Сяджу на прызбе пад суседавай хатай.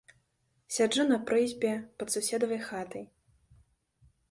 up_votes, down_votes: 2, 0